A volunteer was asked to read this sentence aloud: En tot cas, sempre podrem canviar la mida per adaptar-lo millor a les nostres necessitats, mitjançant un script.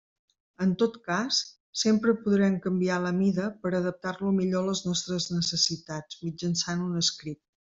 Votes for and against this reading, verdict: 2, 0, accepted